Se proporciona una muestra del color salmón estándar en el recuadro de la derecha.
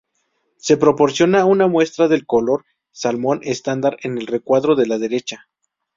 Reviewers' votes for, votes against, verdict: 2, 0, accepted